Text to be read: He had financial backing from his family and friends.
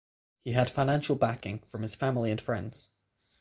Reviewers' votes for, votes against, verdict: 6, 0, accepted